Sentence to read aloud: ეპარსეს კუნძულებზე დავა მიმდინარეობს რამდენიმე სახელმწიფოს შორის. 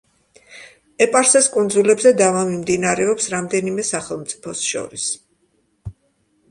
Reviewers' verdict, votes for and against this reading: accepted, 2, 0